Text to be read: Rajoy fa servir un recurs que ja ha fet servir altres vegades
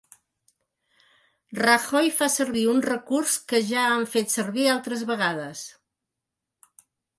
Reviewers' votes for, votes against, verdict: 1, 2, rejected